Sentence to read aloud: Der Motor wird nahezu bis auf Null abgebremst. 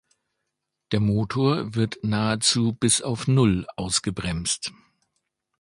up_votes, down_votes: 0, 2